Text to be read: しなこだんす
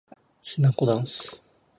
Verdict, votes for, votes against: accepted, 2, 0